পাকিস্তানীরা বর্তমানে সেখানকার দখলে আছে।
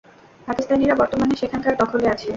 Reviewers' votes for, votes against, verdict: 0, 2, rejected